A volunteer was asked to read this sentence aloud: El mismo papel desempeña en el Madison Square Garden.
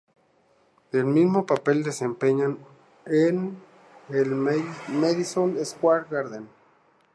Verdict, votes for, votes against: accepted, 4, 0